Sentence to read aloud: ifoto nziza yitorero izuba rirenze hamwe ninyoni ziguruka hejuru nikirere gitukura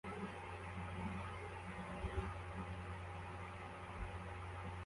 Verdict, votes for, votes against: rejected, 0, 2